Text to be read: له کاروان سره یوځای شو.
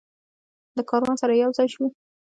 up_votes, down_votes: 3, 0